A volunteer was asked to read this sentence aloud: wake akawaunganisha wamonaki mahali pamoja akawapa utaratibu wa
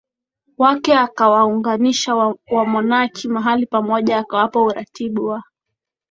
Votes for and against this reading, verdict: 4, 0, accepted